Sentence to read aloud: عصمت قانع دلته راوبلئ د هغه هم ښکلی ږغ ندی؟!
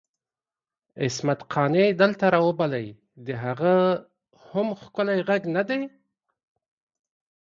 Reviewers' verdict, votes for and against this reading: accepted, 2, 0